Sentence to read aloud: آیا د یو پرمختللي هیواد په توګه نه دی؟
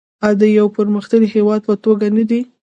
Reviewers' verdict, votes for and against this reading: rejected, 1, 2